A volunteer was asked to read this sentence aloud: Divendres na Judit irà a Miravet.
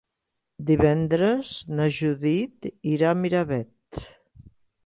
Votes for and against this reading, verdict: 3, 0, accepted